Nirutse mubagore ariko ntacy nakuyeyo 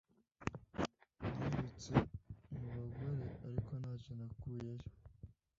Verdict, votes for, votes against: accepted, 2, 0